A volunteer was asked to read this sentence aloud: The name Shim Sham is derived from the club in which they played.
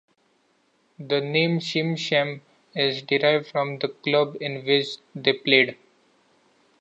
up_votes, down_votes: 2, 0